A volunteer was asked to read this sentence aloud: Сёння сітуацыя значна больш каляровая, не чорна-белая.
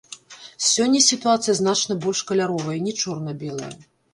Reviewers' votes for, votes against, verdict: 1, 2, rejected